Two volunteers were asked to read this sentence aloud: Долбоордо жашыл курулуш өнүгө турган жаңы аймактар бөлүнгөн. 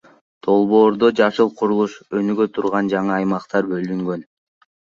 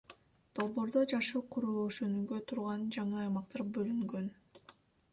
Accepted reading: second